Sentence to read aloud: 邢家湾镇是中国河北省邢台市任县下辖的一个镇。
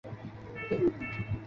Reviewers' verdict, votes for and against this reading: rejected, 1, 3